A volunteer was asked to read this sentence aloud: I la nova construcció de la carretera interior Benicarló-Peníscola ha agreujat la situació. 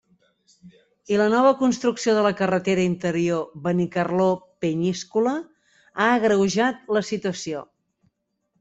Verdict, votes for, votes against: rejected, 1, 2